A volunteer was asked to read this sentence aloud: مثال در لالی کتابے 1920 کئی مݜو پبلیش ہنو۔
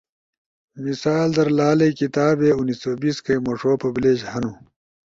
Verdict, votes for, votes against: rejected, 0, 2